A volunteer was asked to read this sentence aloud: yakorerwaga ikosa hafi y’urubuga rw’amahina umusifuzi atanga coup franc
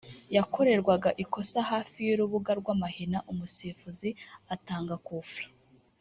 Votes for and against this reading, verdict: 0, 2, rejected